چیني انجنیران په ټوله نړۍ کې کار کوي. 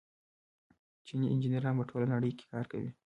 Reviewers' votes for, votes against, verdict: 0, 2, rejected